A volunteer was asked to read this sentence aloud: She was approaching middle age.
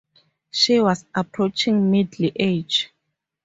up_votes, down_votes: 2, 2